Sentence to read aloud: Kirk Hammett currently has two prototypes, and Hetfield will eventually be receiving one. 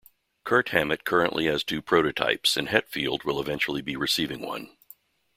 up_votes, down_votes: 2, 0